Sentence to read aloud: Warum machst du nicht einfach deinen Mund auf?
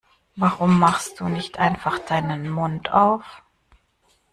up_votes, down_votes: 1, 2